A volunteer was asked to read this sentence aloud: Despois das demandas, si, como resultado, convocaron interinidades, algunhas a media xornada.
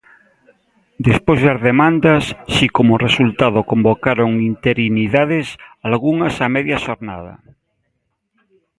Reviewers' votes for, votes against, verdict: 1, 2, rejected